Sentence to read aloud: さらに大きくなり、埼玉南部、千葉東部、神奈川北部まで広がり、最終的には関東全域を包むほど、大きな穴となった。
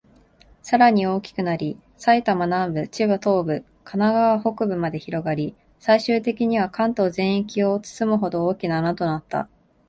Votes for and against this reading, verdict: 2, 1, accepted